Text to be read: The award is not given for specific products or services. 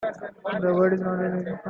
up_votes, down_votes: 0, 2